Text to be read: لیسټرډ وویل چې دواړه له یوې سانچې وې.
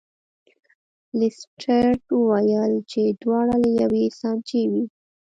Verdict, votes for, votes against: rejected, 1, 2